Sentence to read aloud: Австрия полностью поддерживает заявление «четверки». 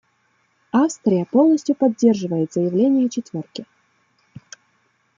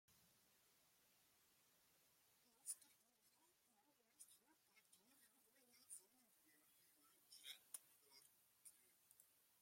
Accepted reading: first